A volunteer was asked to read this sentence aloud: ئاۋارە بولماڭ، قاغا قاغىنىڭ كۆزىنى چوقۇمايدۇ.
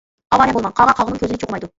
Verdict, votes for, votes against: rejected, 0, 2